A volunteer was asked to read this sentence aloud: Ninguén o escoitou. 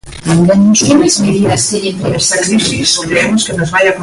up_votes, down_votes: 0, 2